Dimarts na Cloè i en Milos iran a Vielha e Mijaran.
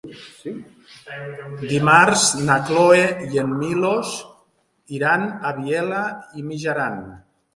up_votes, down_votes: 0, 2